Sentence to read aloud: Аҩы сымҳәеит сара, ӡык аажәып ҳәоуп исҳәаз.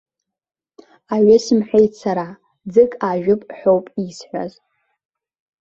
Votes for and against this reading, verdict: 2, 0, accepted